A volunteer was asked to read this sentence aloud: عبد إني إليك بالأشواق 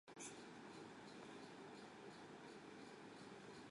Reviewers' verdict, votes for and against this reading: rejected, 0, 2